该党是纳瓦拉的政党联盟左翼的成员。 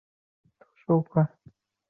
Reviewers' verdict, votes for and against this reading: rejected, 0, 2